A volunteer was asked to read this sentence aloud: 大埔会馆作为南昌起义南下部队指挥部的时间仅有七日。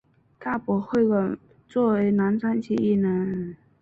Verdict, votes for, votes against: rejected, 0, 3